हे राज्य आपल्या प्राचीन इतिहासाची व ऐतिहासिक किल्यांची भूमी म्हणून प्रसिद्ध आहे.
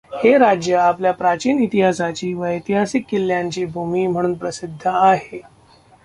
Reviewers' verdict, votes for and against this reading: rejected, 1, 2